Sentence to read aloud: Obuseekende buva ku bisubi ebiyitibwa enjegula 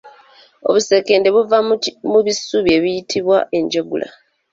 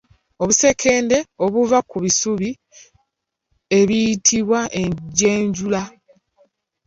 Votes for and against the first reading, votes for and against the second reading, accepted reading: 2, 0, 0, 2, first